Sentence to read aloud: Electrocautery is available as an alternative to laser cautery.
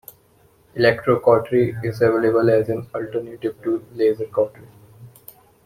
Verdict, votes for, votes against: rejected, 1, 2